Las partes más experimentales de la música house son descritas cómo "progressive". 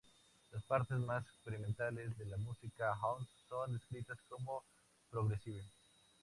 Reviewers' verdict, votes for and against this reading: accepted, 2, 0